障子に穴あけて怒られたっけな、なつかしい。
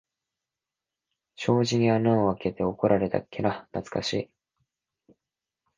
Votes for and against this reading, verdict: 2, 4, rejected